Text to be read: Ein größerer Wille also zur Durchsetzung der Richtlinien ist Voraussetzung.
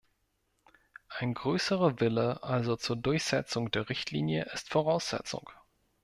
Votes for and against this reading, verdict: 1, 2, rejected